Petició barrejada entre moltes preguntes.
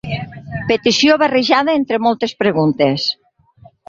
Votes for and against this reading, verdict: 6, 0, accepted